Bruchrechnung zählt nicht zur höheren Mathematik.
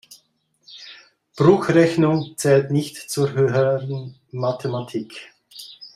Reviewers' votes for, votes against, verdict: 2, 1, accepted